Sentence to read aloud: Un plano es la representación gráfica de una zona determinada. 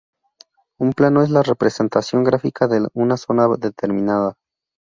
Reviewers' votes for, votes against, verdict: 0, 2, rejected